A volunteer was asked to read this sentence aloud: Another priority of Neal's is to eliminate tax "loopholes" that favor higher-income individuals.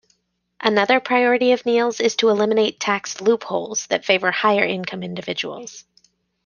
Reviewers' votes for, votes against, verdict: 2, 0, accepted